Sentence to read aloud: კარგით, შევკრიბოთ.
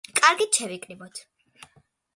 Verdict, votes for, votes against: accepted, 2, 1